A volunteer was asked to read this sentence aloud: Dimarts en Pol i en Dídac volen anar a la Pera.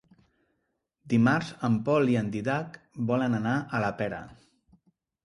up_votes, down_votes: 0, 2